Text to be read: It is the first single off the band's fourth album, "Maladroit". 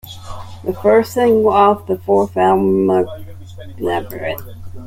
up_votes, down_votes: 0, 2